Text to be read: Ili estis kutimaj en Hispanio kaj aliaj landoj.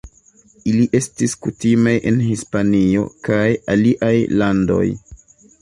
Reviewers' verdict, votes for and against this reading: rejected, 0, 2